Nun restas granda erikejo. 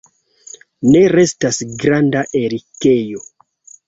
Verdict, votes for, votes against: rejected, 0, 2